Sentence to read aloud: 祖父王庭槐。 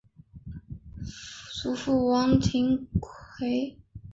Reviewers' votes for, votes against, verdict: 0, 2, rejected